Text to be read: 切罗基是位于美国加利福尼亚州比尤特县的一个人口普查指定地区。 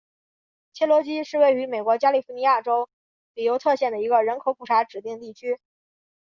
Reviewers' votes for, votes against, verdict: 2, 0, accepted